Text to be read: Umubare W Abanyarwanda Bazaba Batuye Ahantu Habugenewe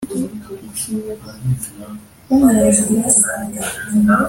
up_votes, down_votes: 1, 2